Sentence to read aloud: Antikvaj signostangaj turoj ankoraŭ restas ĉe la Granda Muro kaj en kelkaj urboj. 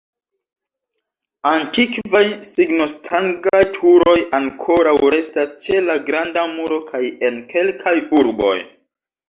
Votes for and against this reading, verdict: 1, 2, rejected